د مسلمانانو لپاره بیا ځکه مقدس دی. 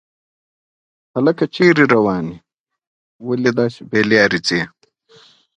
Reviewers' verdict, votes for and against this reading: accepted, 2, 1